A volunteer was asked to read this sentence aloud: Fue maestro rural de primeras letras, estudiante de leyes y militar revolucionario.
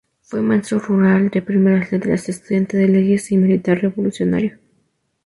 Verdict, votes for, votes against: rejected, 0, 2